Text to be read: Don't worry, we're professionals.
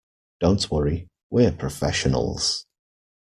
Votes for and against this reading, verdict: 2, 0, accepted